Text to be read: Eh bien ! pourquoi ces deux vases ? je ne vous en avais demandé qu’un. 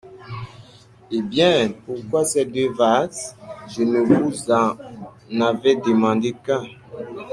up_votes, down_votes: 2, 0